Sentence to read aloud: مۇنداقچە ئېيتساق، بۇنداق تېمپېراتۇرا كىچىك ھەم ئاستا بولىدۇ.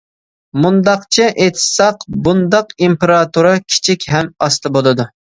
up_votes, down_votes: 0, 2